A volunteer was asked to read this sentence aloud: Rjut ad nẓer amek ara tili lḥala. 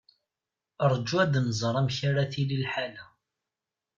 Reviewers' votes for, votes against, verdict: 0, 2, rejected